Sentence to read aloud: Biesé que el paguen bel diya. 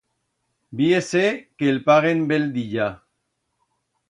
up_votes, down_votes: 1, 2